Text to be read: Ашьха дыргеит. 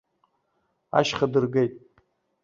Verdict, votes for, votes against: accepted, 2, 0